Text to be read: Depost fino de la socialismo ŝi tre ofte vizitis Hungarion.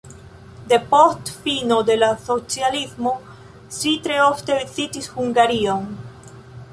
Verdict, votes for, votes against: rejected, 1, 2